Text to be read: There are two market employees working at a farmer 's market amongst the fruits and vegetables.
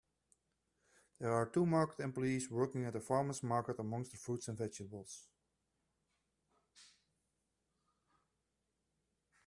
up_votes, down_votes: 2, 0